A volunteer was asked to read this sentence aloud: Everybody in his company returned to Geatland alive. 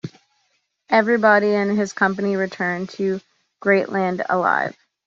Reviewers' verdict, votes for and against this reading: rejected, 0, 2